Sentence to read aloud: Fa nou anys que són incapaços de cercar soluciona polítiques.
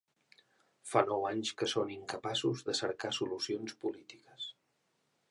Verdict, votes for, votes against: accepted, 2, 0